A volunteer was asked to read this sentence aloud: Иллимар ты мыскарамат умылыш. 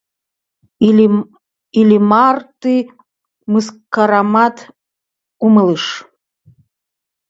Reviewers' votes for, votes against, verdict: 1, 2, rejected